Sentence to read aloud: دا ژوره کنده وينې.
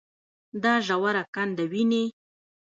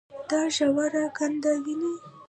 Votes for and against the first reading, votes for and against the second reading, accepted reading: 2, 1, 0, 2, first